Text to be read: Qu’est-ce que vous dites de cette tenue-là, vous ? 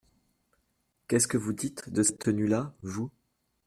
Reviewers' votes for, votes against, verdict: 2, 1, accepted